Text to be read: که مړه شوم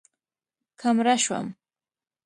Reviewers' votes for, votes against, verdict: 2, 0, accepted